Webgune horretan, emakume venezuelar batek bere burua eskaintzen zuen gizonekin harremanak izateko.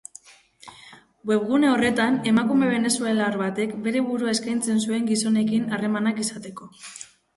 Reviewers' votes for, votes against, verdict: 2, 0, accepted